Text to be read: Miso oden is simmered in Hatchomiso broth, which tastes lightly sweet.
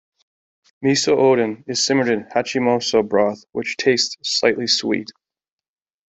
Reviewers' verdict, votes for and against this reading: accepted, 2, 1